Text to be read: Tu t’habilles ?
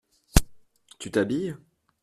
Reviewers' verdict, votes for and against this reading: accepted, 2, 0